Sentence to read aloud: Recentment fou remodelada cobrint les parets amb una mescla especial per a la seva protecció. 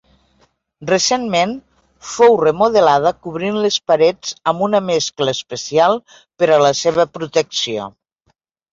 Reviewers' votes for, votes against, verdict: 2, 0, accepted